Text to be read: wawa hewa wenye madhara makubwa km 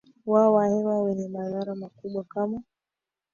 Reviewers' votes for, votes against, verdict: 1, 2, rejected